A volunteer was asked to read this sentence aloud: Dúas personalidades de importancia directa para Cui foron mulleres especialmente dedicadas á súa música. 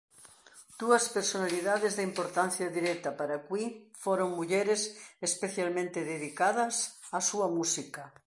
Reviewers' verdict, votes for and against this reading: accepted, 2, 0